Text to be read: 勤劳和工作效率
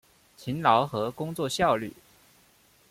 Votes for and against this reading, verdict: 2, 0, accepted